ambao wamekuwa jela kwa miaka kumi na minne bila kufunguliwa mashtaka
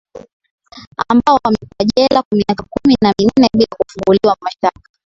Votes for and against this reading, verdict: 2, 0, accepted